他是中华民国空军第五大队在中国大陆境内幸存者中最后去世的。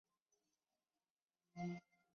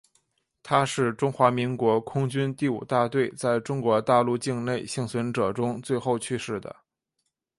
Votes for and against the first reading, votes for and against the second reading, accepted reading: 2, 5, 6, 0, second